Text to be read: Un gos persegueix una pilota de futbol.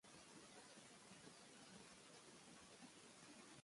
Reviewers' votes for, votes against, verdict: 0, 2, rejected